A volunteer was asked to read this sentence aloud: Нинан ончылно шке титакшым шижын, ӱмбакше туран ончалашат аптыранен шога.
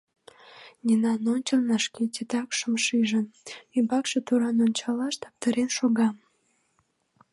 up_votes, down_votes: 1, 2